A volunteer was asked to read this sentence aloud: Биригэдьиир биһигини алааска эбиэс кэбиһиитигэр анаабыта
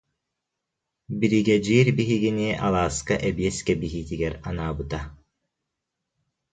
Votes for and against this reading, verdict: 2, 0, accepted